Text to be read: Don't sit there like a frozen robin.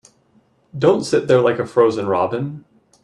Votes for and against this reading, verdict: 2, 0, accepted